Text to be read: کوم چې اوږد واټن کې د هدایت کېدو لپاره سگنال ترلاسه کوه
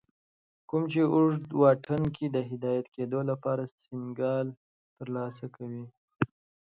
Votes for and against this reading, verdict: 1, 2, rejected